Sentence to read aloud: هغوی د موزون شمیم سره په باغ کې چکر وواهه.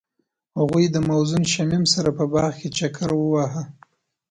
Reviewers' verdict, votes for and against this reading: accepted, 2, 0